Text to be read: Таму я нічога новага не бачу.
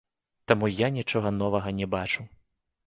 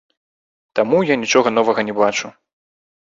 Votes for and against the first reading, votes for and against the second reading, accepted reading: 2, 0, 1, 3, first